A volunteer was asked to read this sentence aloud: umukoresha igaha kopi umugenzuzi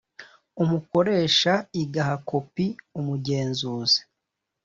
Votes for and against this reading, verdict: 2, 0, accepted